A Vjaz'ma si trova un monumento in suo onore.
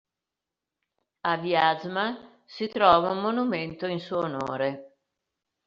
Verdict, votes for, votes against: accepted, 2, 0